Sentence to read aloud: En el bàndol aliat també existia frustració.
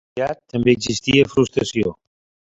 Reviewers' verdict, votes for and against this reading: rejected, 0, 2